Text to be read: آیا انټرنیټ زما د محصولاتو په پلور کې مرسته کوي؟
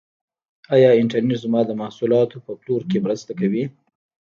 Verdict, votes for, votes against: rejected, 1, 2